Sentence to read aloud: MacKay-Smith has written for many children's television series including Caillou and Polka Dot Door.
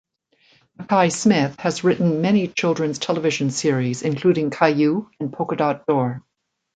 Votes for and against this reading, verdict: 0, 2, rejected